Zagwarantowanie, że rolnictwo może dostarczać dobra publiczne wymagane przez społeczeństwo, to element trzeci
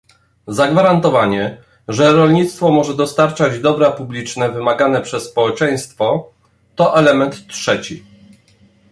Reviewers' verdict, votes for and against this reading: accepted, 2, 0